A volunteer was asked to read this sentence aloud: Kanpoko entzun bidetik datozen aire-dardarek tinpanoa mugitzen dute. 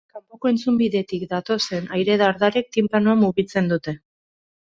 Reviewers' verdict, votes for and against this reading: rejected, 0, 2